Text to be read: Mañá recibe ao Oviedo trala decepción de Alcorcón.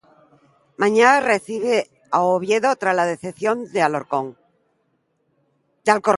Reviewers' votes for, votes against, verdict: 0, 2, rejected